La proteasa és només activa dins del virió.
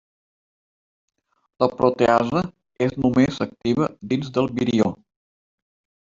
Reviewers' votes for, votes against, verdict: 0, 2, rejected